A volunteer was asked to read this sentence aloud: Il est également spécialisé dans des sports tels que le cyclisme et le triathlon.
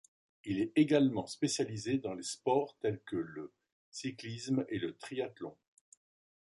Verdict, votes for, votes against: rejected, 1, 2